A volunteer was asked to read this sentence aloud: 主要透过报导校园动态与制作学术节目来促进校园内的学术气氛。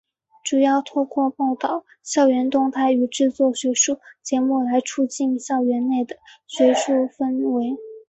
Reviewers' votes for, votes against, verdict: 0, 2, rejected